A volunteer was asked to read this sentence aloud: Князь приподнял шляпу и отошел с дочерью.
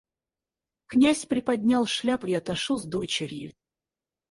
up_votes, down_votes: 0, 4